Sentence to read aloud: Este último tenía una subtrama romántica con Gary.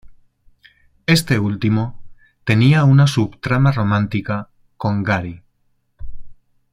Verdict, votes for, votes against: accepted, 2, 0